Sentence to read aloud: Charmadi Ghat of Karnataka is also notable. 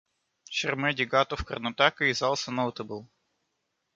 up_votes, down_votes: 2, 1